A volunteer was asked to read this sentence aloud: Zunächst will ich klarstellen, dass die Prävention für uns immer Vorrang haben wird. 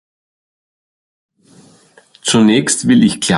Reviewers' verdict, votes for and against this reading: rejected, 0, 2